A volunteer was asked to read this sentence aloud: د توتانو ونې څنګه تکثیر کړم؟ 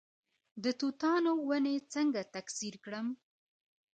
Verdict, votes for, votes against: accepted, 2, 1